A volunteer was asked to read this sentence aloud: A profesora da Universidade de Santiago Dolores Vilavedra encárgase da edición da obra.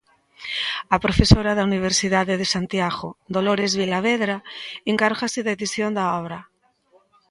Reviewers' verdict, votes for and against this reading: accepted, 2, 0